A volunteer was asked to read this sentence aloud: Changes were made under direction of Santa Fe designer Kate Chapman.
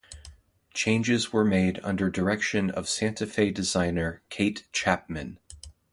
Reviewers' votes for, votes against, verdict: 2, 0, accepted